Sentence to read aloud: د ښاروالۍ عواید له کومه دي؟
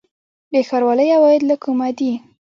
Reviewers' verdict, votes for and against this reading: accepted, 2, 0